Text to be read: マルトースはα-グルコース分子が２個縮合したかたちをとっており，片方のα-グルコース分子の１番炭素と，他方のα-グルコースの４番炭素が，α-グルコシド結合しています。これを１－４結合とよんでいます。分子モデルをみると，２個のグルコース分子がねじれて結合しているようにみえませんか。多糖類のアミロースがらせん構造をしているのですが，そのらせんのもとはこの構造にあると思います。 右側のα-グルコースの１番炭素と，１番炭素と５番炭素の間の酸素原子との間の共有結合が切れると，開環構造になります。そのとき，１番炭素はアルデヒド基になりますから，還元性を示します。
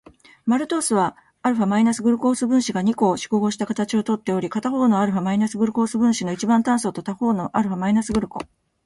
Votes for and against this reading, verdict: 0, 2, rejected